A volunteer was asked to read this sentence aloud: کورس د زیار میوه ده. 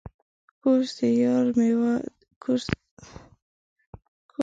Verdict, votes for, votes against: rejected, 0, 2